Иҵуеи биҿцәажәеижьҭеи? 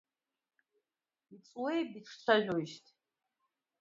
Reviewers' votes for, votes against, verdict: 0, 2, rejected